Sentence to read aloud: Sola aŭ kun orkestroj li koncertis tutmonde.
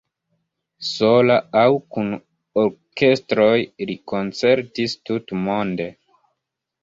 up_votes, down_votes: 1, 2